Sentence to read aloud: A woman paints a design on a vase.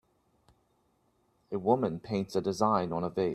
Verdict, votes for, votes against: rejected, 0, 2